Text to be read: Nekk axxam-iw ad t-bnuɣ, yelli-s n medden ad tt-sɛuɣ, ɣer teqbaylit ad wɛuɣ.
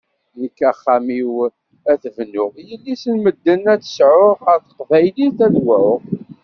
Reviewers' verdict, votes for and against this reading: accepted, 2, 0